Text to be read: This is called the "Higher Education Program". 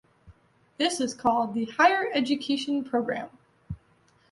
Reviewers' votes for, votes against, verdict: 2, 0, accepted